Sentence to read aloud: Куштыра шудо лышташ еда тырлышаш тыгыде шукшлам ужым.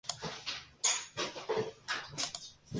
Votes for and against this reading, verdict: 0, 3, rejected